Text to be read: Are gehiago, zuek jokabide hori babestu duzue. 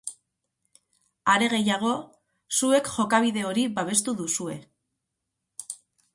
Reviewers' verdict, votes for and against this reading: accepted, 4, 0